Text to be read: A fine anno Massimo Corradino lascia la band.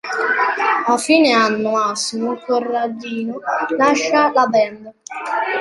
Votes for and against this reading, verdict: 0, 2, rejected